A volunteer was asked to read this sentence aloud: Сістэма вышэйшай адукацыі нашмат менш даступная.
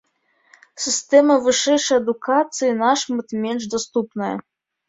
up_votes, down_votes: 0, 2